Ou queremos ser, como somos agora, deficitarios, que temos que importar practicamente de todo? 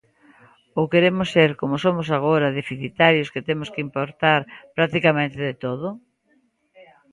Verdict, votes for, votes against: rejected, 0, 2